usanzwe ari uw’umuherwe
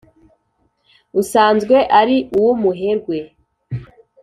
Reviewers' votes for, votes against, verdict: 2, 0, accepted